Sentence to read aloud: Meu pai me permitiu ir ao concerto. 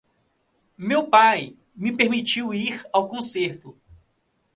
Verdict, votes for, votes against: rejected, 1, 2